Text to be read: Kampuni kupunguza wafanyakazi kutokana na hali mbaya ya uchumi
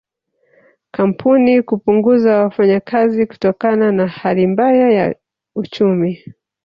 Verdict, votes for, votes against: accepted, 2, 0